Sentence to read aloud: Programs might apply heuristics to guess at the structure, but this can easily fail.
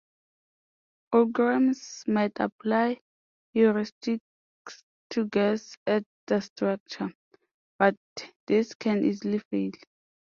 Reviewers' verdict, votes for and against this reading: accepted, 2, 1